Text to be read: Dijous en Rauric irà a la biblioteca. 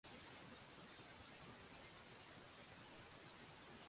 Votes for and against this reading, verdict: 0, 3, rejected